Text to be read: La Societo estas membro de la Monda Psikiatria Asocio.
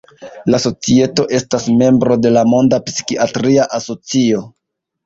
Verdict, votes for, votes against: accepted, 2, 1